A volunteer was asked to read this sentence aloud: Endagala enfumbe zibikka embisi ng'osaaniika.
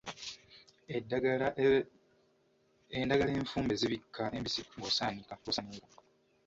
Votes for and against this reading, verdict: 0, 2, rejected